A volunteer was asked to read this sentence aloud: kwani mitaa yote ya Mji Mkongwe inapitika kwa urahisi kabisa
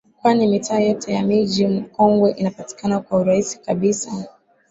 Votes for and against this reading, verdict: 2, 1, accepted